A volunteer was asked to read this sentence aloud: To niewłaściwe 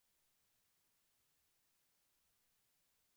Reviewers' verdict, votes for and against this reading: rejected, 0, 4